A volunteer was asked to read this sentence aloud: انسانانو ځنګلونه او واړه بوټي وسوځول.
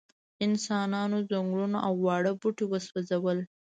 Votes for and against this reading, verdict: 1, 2, rejected